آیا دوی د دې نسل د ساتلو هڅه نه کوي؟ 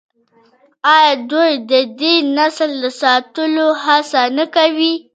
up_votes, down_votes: 2, 0